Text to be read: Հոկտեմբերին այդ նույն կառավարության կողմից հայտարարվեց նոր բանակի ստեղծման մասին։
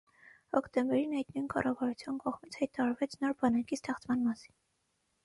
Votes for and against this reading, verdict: 6, 3, accepted